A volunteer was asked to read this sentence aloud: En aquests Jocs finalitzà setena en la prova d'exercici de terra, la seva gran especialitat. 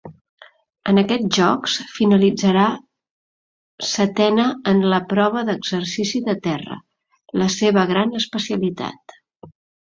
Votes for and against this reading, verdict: 0, 2, rejected